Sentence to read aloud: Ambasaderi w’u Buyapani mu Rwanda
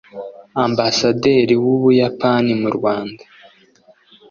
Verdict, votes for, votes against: accepted, 2, 0